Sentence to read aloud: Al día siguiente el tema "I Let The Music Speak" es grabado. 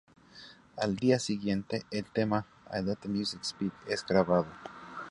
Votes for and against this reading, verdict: 2, 2, rejected